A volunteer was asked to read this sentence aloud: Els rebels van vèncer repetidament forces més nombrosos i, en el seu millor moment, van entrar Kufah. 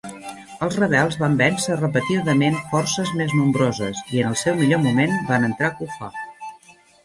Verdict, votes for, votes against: rejected, 0, 2